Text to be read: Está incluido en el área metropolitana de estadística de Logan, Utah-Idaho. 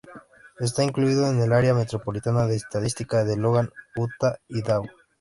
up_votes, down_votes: 2, 0